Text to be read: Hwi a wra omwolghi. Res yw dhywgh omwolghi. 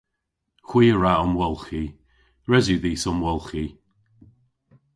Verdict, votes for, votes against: rejected, 0, 2